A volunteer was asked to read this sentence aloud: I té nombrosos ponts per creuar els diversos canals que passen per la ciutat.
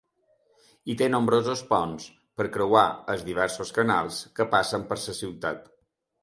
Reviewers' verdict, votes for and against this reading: rejected, 1, 2